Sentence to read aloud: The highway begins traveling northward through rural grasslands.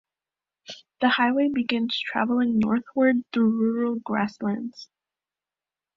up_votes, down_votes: 1, 2